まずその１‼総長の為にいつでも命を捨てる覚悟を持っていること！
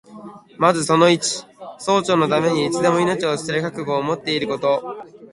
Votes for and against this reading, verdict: 0, 2, rejected